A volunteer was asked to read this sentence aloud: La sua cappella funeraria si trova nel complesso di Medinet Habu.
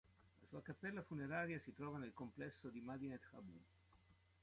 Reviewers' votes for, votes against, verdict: 1, 2, rejected